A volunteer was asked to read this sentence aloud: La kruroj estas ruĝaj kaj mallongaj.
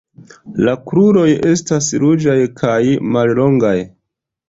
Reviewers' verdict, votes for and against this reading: accepted, 3, 0